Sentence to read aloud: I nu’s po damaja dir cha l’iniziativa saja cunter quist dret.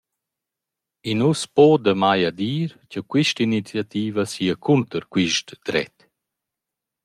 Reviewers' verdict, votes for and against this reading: rejected, 0, 2